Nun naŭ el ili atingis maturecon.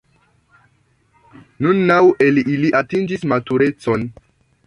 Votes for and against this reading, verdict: 2, 1, accepted